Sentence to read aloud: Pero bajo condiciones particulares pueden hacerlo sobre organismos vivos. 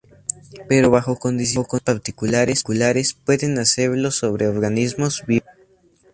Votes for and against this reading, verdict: 2, 0, accepted